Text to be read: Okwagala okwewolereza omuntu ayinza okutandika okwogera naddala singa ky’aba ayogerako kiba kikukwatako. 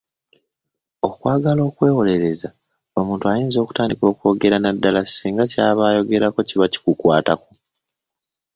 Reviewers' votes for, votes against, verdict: 1, 2, rejected